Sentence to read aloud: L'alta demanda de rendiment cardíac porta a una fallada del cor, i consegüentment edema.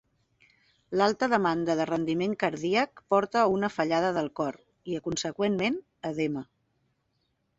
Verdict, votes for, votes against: rejected, 0, 2